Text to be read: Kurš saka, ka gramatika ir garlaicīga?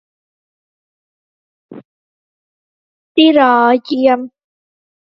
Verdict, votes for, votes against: rejected, 0, 2